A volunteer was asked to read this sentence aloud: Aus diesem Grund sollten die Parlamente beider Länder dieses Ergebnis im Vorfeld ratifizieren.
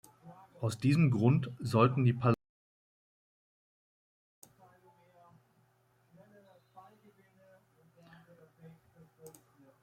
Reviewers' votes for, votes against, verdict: 0, 2, rejected